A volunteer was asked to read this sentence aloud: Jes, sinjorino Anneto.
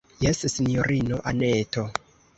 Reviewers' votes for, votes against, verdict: 2, 0, accepted